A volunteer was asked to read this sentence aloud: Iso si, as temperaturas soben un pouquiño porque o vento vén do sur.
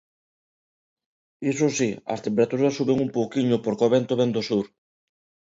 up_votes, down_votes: 2, 0